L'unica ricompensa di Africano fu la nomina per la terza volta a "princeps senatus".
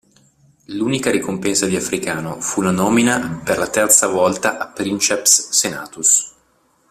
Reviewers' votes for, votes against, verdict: 2, 0, accepted